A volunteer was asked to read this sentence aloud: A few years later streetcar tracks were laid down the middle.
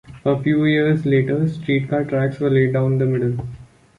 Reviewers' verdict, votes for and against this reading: accepted, 2, 0